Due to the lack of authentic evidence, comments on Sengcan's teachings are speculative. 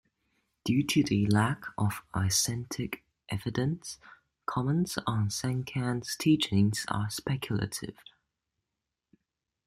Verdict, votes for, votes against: rejected, 0, 2